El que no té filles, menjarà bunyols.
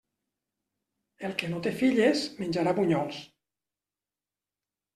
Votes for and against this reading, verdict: 3, 0, accepted